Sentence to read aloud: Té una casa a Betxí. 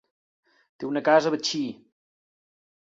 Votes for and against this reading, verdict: 2, 0, accepted